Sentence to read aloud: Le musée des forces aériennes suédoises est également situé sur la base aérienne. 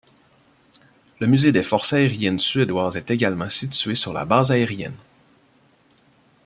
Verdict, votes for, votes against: accepted, 2, 0